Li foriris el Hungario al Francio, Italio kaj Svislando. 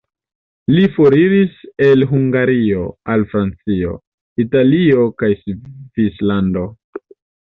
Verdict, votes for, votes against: rejected, 1, 2